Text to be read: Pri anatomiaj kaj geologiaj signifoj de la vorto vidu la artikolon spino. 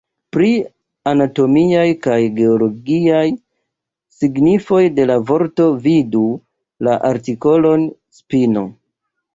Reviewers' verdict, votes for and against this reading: accepted, 2, 0